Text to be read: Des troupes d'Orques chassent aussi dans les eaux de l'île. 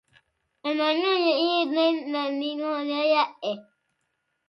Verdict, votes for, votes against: rejected, 0, 2